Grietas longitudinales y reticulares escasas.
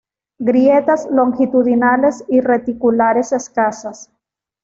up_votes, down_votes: 2, 0